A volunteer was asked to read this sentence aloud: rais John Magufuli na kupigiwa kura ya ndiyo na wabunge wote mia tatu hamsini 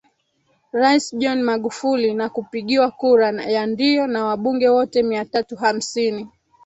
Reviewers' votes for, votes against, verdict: 0, 2, rejected